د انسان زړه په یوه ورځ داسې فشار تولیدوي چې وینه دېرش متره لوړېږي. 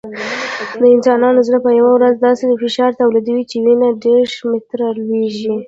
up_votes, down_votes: 2, 1